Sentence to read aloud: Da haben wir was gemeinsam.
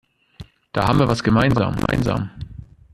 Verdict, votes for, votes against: rejected, 0, 2